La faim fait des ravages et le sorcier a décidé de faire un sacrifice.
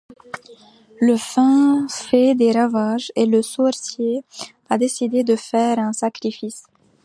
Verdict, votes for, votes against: accepted, 2, 0